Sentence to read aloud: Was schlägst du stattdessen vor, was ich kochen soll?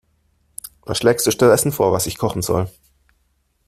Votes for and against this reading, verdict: 1, 2, rejected